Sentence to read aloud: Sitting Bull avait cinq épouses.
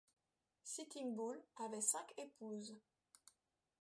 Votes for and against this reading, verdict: 0, 2, rejected